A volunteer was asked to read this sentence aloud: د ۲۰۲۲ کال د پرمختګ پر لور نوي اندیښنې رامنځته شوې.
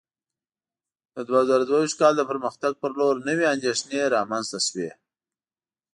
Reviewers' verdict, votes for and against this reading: rejected, 0, 2